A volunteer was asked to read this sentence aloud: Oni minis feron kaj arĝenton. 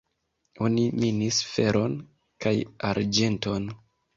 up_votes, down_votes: 2, 0